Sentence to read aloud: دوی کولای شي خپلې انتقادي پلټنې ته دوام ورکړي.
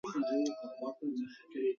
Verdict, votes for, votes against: rejected, 0, 2